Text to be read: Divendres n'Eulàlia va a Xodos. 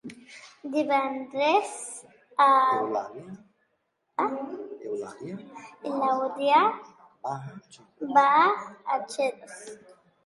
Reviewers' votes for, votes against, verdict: 0, 3, rejected